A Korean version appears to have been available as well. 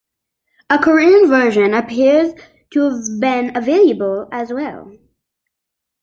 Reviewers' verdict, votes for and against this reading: accepted, 2, 0